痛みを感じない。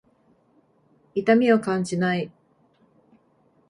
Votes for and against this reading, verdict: 2, 0, accepted